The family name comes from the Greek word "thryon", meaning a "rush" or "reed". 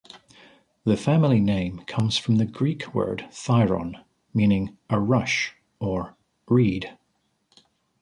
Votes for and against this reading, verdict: 2, 0, accepted